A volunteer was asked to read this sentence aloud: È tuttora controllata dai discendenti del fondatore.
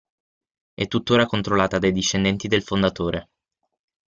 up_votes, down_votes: 6, 0